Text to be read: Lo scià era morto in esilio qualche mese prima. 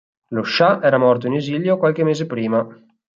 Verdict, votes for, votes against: accepted, 4, 0